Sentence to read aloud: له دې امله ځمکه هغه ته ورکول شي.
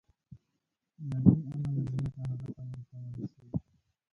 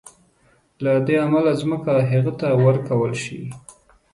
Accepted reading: second